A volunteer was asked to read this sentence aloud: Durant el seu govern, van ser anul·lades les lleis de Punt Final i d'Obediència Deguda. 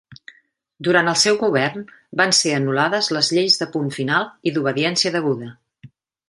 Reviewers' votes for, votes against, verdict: 3, 0, accepted